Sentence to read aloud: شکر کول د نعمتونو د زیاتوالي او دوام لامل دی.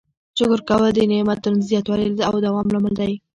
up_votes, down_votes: 3, 1